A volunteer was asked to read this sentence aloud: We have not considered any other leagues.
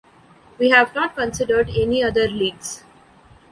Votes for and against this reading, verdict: 2, 0, accepted